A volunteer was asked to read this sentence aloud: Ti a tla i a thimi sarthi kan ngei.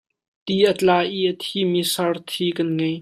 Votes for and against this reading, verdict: 2, 1, accepted